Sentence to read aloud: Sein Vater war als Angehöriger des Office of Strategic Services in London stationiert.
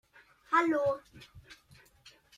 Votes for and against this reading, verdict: 0, 2, rejected